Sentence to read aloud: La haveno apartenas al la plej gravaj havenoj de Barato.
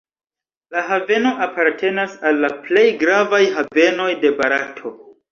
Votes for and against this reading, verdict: 1, 2, rejected